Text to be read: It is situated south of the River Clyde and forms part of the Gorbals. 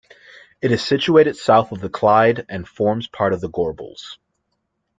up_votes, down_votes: 0, 2